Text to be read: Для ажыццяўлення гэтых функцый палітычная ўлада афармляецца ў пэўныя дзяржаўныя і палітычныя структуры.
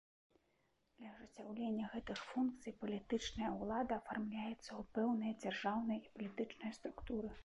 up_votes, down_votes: 2, 1